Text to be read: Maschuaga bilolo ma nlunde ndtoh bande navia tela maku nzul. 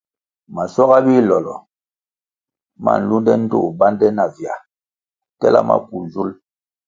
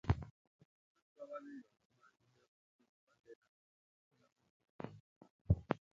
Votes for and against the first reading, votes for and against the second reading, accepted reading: 2, 0, 0, 2, first